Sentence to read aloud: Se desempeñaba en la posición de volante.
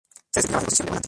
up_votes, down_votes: 0, 2